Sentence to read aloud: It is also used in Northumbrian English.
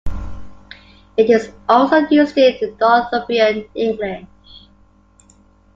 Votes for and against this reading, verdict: 0, 2, rejected